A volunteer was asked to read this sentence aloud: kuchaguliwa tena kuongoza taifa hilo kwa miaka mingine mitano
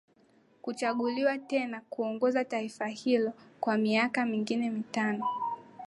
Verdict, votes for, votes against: accepted, 6, 5